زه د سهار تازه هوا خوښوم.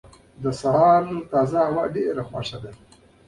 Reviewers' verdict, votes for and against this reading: rejected, 1, 2